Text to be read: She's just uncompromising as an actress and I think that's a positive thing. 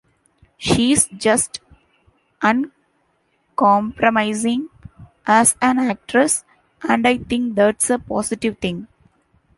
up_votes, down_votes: 2, 0